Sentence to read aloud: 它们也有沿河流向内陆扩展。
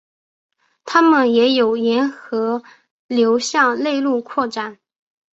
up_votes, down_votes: 7, 0